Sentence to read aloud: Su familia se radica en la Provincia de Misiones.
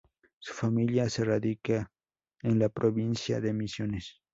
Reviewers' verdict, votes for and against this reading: accepted, 2, 0